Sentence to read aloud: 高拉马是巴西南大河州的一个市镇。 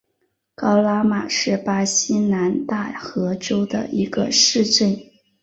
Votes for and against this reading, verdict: 2, 0, accepted